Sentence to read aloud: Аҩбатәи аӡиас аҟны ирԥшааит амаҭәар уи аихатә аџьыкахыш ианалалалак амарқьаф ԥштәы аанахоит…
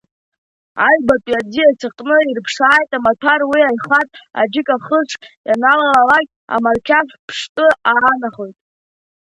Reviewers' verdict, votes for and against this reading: rejected, 1, 2